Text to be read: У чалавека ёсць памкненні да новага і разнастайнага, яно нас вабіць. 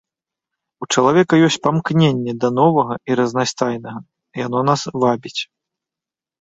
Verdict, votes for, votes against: accepted, 2, 0